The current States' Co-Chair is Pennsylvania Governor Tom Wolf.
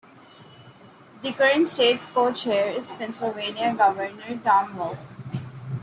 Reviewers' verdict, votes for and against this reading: accepted, 2, 0